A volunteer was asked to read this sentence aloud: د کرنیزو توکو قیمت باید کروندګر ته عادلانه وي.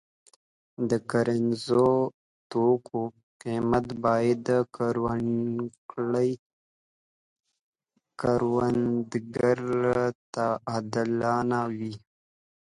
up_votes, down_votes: 0, 3